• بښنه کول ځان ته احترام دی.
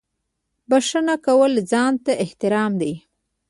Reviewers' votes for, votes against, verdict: 2, 1, accepted